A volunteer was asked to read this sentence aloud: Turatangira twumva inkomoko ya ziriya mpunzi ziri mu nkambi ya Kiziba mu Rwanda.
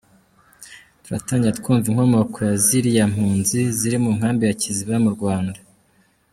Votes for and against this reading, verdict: 2, 1, accepted